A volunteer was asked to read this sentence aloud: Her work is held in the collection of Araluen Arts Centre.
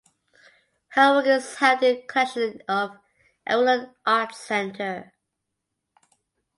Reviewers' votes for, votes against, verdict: 0, 2, rejected